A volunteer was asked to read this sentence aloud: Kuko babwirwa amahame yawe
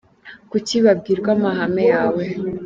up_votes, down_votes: 2, 1